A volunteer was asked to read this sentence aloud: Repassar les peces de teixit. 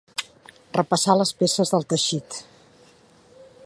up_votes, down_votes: 1, 2